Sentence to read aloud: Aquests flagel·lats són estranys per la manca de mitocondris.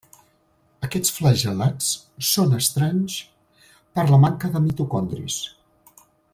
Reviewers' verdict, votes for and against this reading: accepted, 2, 0